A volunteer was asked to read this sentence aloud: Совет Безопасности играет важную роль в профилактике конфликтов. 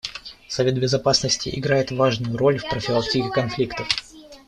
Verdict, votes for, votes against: accepted, 2, 1